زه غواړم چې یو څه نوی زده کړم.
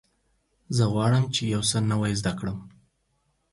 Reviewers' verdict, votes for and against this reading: rejected, 0, 4